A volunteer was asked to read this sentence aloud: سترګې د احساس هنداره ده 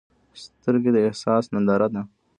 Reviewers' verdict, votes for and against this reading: accepted, 2, 1